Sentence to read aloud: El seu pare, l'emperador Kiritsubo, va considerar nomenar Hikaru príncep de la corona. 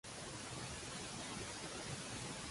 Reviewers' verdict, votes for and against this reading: rejected, 0, 2